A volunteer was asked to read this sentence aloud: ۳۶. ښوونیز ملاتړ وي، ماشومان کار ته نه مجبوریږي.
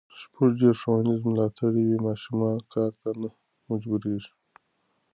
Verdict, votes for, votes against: rejected, 0, 2